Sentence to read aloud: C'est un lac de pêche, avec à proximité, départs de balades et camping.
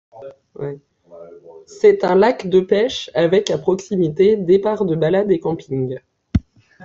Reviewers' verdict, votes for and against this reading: rejected, 1, 2